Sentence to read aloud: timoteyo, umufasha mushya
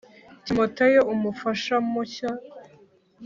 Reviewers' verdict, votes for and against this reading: accepted, 2, 0